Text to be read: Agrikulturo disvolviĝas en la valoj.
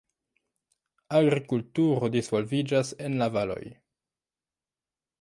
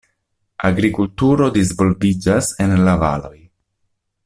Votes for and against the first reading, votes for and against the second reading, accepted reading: 0, 2, 2, 0, second